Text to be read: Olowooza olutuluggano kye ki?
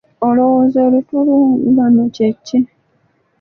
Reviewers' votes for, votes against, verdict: 0, 2, rejected